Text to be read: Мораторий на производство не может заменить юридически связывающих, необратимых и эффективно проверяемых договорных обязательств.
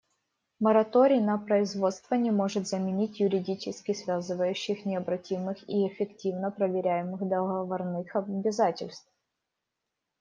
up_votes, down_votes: 1, 2